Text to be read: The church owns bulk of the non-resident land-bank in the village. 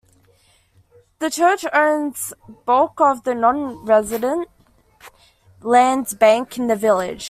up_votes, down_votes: 1, 2